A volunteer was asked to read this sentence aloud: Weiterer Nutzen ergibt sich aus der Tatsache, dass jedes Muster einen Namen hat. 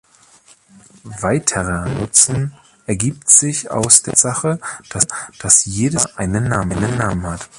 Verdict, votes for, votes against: rejected, 0, 2